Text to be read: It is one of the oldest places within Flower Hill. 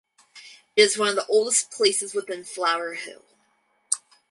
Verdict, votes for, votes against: rejected, 2, 4